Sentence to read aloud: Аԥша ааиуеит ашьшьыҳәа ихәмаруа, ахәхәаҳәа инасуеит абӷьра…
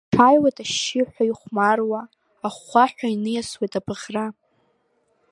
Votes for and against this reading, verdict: 1, 2, rejected